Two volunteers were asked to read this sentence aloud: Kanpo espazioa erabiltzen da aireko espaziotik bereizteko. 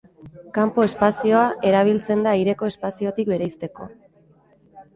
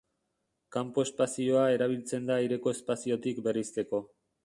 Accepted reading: first